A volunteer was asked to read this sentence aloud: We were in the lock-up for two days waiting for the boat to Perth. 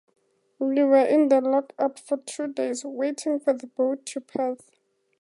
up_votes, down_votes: 2, 0